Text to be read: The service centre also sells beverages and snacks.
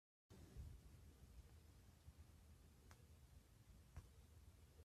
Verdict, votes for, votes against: rejected, 0, 2